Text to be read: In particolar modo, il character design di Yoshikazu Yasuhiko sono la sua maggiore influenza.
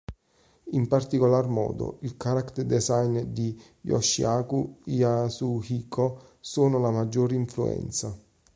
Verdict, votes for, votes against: rejected, 1, 2